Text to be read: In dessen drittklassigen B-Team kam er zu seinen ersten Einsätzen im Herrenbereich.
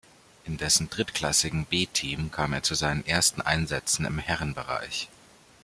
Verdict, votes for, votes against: accepted, 2, 0